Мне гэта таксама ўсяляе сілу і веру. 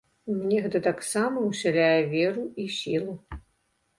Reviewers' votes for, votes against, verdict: 1, 2, rejected